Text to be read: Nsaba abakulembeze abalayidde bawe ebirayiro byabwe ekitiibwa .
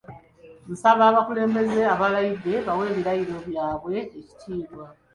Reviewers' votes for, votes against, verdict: 2, 1, accepted